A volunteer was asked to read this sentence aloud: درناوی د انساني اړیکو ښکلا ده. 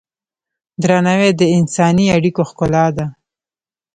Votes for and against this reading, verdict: 1, 2, rejected